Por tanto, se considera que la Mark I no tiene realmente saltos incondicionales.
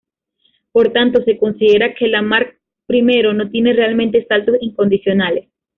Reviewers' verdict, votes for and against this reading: rejected, 1, 2